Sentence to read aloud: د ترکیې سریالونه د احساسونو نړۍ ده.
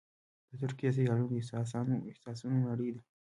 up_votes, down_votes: 1, 2